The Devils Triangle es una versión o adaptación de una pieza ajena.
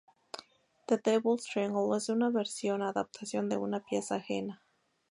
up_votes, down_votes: 2, 0